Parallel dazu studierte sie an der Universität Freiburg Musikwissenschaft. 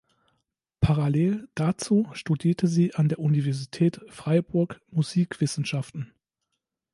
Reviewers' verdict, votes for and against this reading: rejected, 0, 2